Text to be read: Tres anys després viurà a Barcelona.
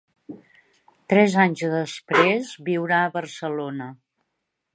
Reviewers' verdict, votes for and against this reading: rejected, 1, 2